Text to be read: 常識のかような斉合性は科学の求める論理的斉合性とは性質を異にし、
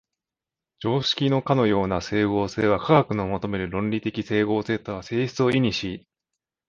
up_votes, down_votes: 0, 2